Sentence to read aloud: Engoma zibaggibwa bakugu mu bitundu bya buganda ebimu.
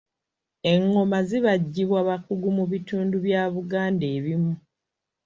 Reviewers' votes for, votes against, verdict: 2, 0, accepted